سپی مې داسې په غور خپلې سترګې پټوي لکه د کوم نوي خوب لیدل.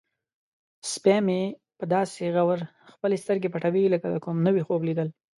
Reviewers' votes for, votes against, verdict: 2, 1, accepted